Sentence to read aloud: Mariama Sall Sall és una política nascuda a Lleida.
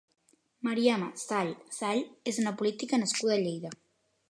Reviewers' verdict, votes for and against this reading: accepted, 2, 0